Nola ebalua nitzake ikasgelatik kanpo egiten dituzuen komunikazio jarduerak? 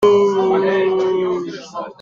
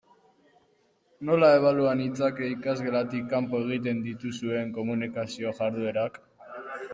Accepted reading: second